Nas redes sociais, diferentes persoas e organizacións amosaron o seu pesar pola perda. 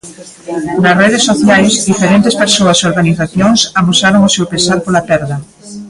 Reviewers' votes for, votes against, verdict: 2, 1, accepted